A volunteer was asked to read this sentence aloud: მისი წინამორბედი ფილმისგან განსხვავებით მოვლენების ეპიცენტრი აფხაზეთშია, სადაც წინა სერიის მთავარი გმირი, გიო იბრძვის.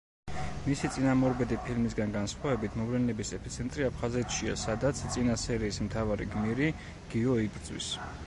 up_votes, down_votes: 1, 2